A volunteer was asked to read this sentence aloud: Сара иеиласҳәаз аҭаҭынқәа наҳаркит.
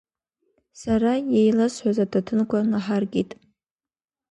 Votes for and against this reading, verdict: 2, 0, accepted